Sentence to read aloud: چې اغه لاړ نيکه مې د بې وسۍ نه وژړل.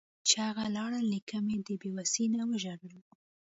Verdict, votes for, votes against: accepted, 2, 0